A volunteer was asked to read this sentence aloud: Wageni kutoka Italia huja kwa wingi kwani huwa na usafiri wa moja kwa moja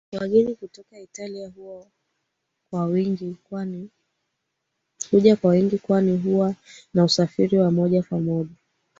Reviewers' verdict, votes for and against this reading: rejected, 1, 3